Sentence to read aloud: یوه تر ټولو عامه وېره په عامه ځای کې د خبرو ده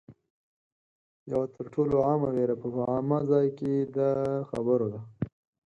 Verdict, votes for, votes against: accepted, 4, 0